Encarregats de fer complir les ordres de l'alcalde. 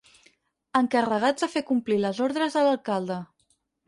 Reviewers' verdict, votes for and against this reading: accepted, 6, 0